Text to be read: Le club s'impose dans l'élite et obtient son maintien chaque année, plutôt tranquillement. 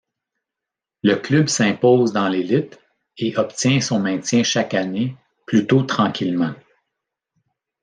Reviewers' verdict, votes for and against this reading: accepted, 2, 0